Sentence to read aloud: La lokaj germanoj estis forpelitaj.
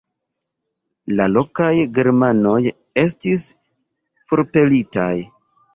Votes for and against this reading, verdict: 2, 0, accepted